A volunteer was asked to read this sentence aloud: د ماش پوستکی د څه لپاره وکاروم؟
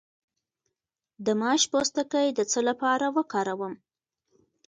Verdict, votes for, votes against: accepted, 2, 0